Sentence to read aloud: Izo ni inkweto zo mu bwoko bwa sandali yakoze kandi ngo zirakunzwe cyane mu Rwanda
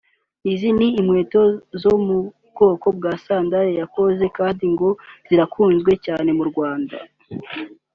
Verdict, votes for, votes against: accepted, 2, 0